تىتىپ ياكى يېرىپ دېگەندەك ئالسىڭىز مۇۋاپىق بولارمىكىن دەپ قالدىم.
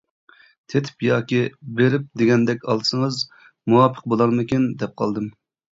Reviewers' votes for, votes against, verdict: 1, 2, rejected